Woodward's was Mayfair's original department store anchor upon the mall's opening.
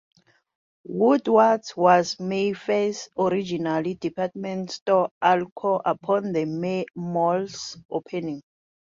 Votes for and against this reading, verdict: 2, 0, accepted